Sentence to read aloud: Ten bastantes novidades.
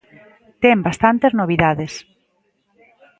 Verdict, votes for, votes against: accepted, 2, 0